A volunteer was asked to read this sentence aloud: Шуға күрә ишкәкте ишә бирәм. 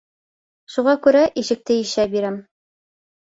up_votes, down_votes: 2, 6